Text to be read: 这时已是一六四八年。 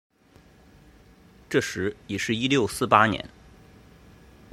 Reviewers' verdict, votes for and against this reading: accepted, 2, 0